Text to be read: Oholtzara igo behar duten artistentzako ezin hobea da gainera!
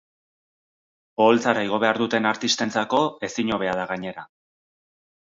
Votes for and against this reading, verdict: 4, 0, accepted